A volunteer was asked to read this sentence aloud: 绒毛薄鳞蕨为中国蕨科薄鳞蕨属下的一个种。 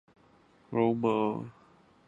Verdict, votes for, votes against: rejected, 0, 2